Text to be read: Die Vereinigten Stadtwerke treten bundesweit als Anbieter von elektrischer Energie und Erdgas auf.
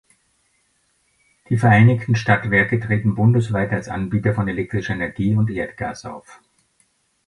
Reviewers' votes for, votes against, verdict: 3, 0, accepted